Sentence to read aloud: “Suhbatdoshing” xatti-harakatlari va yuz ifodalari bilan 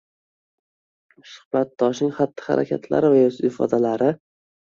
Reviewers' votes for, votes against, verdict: 1, 2, rejected